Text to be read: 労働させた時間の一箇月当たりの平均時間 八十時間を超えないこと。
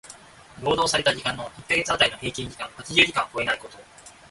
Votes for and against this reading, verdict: 0, 2, rejected